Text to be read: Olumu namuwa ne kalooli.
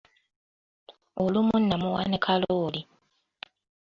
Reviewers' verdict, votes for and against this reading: accepted, 2, 0